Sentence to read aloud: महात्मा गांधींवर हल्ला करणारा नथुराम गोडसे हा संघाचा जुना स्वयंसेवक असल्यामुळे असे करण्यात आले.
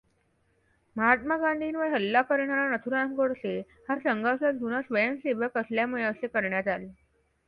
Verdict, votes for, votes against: accepted, 2, 0